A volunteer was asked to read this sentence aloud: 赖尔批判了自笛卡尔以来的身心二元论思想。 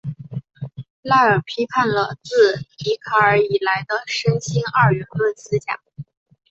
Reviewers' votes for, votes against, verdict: 2, 1, accepted